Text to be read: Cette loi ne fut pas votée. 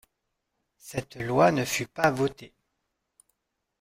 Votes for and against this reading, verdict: 2, 0, accepted